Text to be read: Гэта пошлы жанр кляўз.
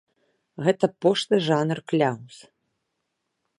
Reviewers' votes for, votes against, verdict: 2, 0, accepted